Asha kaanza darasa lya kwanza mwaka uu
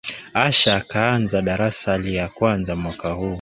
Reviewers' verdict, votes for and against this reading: accepted, 7, 0